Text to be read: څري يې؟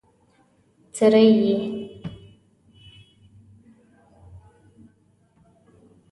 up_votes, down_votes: 1, 2